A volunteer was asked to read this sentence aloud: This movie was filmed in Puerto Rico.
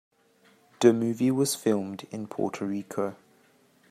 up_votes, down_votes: 0, 2